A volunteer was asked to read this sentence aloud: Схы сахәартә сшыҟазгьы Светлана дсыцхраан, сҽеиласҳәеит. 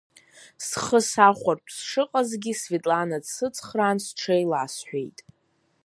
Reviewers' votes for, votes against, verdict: 3, 0, accepted